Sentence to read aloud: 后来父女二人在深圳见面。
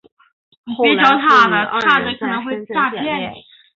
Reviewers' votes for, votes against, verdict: 0, 3, rejected